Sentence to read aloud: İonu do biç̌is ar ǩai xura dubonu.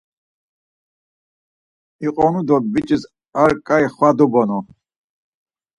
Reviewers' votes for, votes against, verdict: 2, 4, rejected